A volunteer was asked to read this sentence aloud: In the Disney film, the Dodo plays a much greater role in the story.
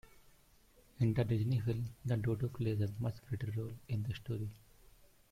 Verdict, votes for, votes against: rejected, 0, 2